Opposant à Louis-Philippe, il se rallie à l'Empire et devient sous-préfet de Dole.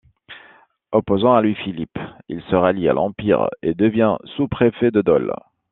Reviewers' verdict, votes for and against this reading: accepted, 2, 1